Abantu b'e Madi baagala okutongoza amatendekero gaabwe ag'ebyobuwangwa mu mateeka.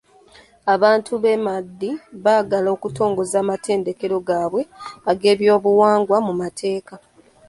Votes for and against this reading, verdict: 0, 2, rejected